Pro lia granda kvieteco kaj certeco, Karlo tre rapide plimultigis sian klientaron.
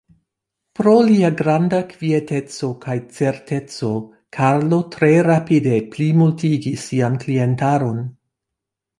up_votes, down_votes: 2, 0